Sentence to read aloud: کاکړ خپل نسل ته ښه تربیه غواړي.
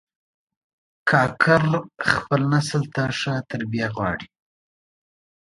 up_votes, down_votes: 2, 0